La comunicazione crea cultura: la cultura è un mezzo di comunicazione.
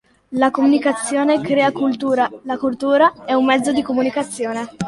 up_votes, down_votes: 2, 0